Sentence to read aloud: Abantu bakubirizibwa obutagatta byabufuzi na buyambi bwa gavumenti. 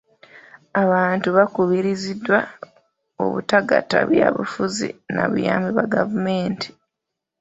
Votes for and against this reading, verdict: 1, 2, rejected